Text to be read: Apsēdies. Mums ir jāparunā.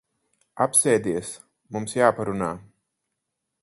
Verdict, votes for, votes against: rejected, 2, 4